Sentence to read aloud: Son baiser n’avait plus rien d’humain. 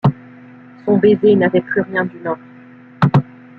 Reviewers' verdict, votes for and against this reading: rejected, 1, 2